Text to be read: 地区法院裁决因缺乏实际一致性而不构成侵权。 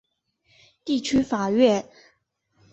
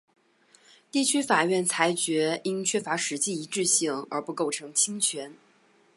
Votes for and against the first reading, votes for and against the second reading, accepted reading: 2, 3, 5, 1, second